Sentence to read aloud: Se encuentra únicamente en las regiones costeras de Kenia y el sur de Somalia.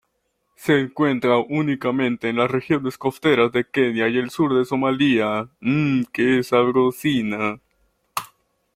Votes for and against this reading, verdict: 0, 2, rejected